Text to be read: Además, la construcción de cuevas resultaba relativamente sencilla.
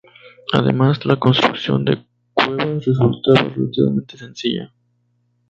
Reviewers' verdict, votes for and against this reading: rejected, 0, 2